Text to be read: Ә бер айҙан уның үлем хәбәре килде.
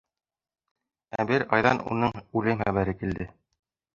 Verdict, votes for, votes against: rejected, 1, 2